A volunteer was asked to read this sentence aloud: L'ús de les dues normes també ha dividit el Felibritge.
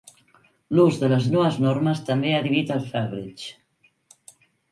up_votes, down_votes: 1, 2